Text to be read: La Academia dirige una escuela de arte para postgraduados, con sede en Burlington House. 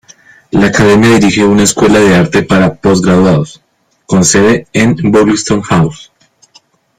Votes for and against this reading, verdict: 1, 2, rejected